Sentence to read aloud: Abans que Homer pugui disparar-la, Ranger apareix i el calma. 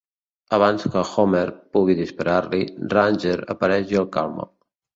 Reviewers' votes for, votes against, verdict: 1, 2, rejected